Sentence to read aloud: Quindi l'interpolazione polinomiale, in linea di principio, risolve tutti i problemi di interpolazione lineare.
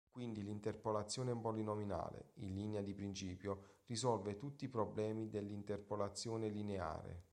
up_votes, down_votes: 0, 2